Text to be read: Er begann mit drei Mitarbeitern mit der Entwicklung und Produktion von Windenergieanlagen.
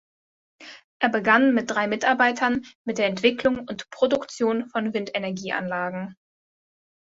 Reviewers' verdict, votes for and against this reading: accepted, 2, 0